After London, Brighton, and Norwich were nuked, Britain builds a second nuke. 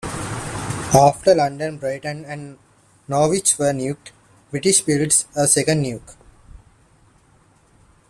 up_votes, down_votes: 1, 2